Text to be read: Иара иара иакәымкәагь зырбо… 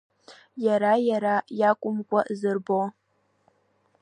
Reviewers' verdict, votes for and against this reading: rejected, 0, 2